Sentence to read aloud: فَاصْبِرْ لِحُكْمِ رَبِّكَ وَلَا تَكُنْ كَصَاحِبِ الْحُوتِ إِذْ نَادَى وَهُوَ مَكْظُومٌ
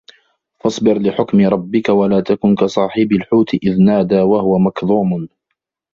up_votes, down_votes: 0, 2